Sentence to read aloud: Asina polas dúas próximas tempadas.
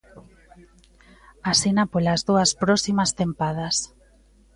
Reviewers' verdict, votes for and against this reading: accepted, 2, 1